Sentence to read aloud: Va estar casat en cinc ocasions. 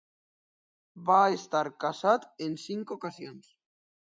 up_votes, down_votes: 2, 0